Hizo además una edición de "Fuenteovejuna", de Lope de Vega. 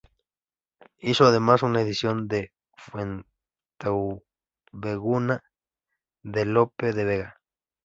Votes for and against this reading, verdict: 0, 2, rejected